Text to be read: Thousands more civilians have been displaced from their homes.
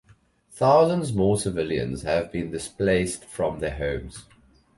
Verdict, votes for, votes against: accepted, 2, 0